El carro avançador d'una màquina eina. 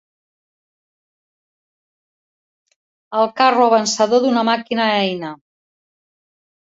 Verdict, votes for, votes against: accepted, 3, 0